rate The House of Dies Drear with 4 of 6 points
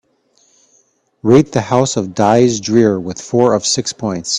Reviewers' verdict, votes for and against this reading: rejected, 0, 2